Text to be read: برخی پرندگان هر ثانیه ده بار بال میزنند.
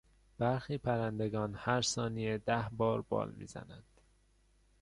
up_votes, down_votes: 2, 0